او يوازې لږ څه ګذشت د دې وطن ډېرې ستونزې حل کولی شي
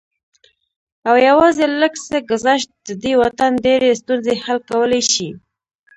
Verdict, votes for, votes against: rejected, 0, 2